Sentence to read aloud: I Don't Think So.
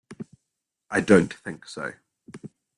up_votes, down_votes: 2, 0